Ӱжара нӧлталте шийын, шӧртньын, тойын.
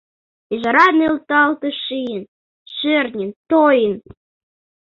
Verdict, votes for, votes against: accepted, 2, 0